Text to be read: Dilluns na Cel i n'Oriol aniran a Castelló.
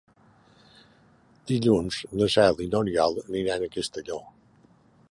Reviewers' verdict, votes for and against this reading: accepted, 4, 1